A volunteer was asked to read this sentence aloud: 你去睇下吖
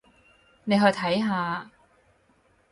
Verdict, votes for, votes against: rejected, 2, 4